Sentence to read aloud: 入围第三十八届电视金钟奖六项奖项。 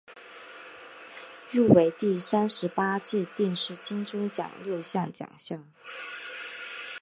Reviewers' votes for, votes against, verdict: 2, 0, accepted